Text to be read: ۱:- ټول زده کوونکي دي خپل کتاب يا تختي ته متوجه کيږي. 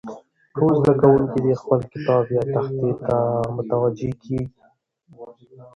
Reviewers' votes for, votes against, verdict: 0, 2, rejected